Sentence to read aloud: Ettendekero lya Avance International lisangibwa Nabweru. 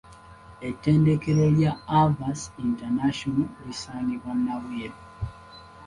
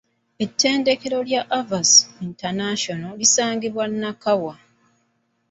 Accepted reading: first